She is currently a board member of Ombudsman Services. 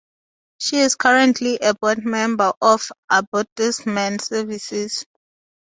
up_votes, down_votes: 0, 2